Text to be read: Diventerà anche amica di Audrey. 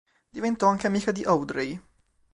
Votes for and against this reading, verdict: 2, 3, rejected